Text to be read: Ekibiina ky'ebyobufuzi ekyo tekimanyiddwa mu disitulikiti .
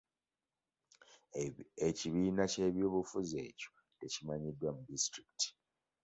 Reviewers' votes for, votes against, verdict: 2, 1, accepted